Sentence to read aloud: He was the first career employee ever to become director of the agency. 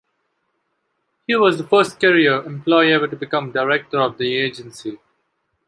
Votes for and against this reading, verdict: 2, 1, accepted